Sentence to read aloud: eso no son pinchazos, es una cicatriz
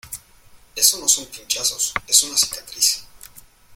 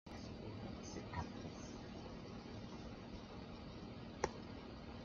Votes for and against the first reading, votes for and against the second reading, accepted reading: 2, 0, 0, 2, first